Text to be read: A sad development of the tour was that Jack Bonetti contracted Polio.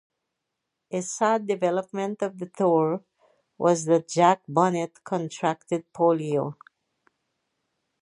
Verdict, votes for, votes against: rejected, 0, 4